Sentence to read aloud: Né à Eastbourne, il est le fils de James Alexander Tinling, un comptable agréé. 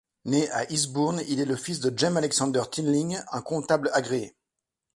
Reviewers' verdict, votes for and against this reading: rejected, 0, 2